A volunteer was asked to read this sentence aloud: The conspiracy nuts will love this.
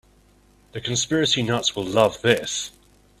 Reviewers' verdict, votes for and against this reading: accepted, 2, 0